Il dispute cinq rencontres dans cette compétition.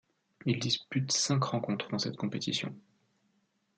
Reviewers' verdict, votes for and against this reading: accepted, 2, 0